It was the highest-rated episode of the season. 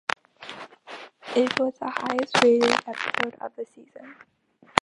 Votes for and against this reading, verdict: 1, 2, rejected